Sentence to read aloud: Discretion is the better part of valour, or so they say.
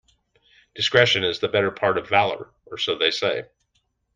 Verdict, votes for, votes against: accepted, 2, 0